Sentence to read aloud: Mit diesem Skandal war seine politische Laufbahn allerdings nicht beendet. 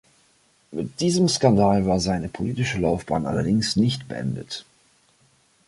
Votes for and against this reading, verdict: 2, 0, accepted